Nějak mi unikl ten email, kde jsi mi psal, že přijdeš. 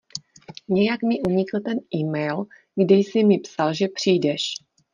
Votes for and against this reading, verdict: 2, 0, accepted